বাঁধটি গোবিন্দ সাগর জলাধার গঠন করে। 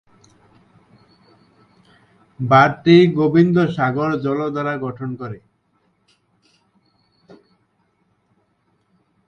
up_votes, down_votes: 1, 5